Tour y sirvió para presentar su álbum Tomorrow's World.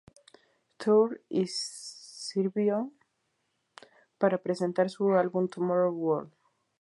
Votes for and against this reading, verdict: 2, 2, rejected